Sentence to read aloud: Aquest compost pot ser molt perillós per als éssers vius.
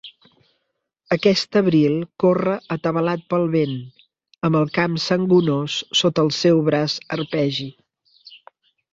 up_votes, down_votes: 0, 2